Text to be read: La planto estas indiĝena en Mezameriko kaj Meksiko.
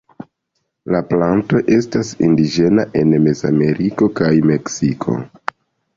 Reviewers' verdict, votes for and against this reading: accepted, 2, 0